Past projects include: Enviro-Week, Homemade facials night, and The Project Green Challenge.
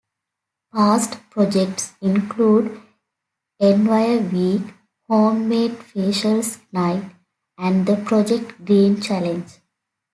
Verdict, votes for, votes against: accepted, 2, 1